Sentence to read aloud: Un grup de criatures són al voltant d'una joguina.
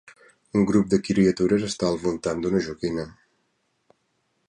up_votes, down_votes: 0, 3